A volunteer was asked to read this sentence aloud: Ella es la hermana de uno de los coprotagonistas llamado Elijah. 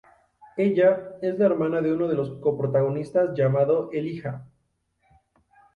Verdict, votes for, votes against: rejected, 0, 2